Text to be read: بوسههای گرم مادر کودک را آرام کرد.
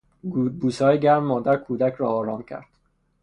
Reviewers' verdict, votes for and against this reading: rejected, 0, 3